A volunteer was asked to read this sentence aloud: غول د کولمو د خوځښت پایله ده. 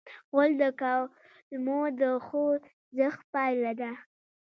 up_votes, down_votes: 1, 2